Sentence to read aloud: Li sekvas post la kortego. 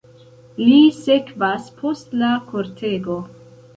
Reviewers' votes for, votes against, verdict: 2, 1, accepted